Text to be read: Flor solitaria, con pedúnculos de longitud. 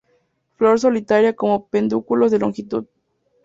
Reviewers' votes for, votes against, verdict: 2, 0, accepted